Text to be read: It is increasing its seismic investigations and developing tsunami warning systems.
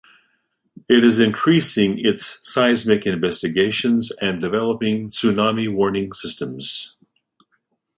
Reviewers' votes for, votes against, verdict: 2, 0, accepted